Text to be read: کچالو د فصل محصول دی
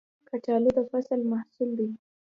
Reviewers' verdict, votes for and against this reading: rejected, 1, 2